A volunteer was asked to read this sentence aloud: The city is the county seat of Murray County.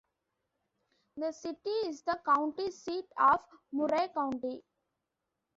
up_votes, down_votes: 2, 0